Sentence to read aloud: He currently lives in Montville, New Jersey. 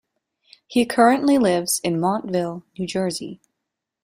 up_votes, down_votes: 2, 0